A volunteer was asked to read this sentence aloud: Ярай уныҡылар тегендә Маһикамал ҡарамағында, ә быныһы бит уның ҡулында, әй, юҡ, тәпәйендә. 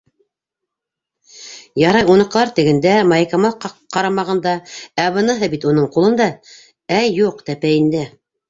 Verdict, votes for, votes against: rejected, 0, 2